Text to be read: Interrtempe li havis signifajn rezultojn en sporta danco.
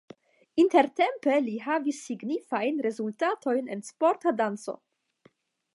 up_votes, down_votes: 0, 5